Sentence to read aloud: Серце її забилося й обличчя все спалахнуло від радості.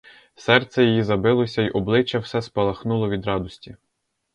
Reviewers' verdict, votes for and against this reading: accepted, 4, 0